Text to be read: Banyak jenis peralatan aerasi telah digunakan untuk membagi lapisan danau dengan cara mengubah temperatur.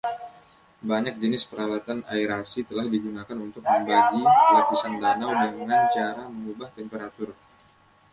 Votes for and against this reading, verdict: 0, 2, rejected